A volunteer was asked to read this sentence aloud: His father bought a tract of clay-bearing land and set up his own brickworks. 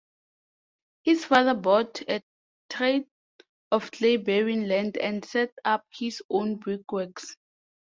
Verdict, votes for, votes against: rejected, 1, 2